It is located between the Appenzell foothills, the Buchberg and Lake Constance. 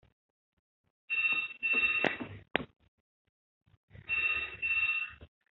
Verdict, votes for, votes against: rejected, 0, 2